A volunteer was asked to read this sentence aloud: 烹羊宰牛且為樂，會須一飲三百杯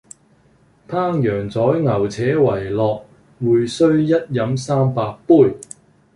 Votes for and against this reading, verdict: 2, 1, accepted